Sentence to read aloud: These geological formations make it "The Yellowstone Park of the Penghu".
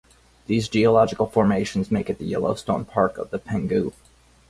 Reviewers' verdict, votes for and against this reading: accepted, 4, 2